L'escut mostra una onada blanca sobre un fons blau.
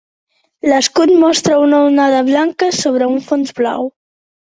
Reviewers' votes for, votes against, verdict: 3, 0, accepted